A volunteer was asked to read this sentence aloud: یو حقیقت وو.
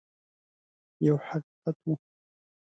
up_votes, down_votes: 2, 0